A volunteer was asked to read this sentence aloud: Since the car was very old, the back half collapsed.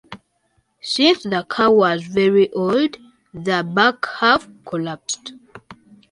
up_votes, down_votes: 2, 0